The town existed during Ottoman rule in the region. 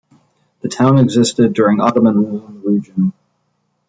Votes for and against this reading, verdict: 0, 2, rejected